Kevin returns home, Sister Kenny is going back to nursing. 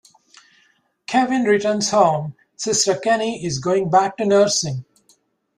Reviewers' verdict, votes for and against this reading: accepted, 2, 0